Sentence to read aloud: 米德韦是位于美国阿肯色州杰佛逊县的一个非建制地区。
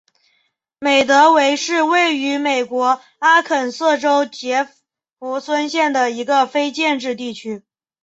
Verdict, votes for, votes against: accepted, 4, 3